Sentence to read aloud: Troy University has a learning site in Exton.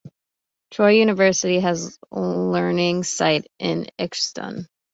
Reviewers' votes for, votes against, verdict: 2, 0, accepted